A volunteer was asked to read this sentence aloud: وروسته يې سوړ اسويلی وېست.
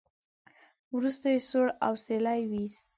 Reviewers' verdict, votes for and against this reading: rejected, 1, 2